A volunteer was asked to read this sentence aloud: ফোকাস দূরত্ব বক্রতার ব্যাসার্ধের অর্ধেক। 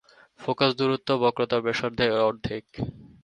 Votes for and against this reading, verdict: 2, 0, accepted